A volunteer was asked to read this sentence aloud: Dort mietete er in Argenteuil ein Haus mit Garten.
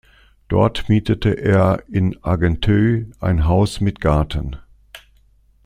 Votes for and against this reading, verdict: 2, 0, accepted